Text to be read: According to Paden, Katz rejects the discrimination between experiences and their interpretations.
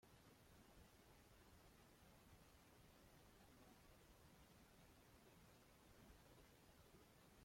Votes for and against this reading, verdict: 1, 2, rejected